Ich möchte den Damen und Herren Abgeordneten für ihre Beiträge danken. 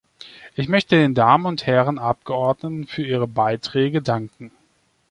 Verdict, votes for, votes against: accepted, 2, 0